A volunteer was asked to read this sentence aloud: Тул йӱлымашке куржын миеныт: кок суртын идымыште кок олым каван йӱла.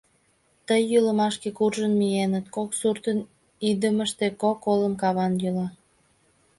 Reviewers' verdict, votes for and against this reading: rejected, 1, 2